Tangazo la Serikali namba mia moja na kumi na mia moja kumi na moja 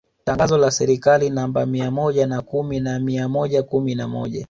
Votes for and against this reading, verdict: 2, 1, accepted